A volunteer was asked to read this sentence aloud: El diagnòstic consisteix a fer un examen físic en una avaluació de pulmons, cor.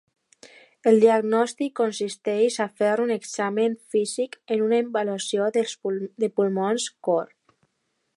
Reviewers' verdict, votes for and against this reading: rejected, 0, 2